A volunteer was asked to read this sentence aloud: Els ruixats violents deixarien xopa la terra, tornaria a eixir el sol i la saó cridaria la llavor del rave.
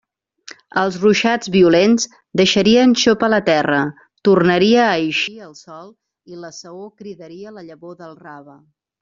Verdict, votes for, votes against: accepted, 2, 0